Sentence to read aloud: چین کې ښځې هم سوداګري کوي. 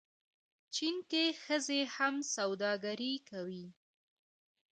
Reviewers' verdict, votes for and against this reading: rejected, 1, 2